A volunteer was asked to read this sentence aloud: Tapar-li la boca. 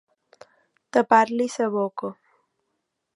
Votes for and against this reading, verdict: 0, 2, rejected